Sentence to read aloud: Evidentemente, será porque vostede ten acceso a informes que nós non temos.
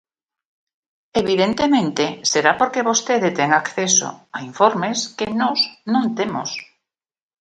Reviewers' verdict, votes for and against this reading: accepted, 4, 1